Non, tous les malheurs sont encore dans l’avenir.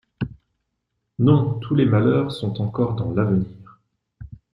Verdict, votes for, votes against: accepted, 2, 0